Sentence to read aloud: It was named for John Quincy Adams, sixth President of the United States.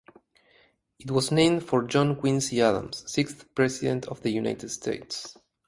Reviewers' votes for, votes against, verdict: 2, 2, rejected